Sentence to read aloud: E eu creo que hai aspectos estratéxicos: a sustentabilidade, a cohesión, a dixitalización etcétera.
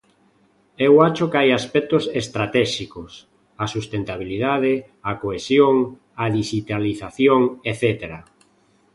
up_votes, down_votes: 0, 2